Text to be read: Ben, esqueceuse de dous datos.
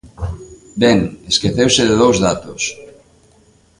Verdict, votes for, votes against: accepted, 3, 0